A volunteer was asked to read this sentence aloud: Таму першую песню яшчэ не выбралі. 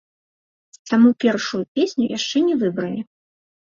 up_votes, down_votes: 2, 0